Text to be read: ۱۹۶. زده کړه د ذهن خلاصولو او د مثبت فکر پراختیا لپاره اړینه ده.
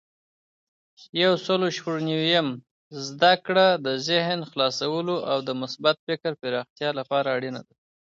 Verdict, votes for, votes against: rejected, 0, 2